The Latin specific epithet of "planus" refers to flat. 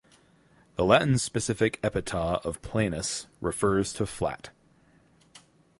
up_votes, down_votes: 4, 0